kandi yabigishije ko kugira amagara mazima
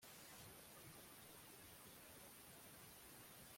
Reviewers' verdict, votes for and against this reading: rejected, 0, 2